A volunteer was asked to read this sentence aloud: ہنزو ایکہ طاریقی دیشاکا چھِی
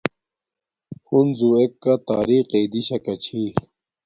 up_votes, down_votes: 2, 0